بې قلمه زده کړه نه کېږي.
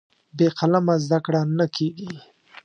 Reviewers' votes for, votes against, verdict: 2, 0, accepted